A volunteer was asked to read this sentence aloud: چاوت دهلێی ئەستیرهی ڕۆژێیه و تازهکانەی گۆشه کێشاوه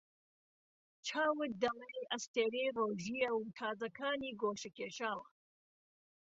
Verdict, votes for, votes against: rejected, 0, 2